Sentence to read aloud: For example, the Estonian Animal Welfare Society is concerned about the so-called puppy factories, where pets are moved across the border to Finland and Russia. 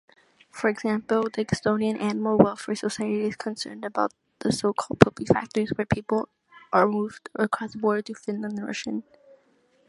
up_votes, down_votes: 2, 3